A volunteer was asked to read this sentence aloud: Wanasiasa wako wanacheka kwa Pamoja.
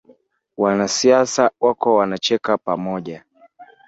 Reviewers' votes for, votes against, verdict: 2, 0, accepted